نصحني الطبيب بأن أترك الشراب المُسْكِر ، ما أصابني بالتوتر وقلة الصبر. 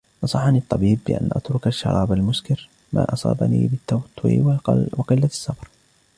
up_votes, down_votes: 1, 2